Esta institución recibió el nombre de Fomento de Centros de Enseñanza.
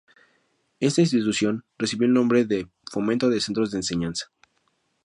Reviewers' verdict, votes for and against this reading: accepted, 4, 0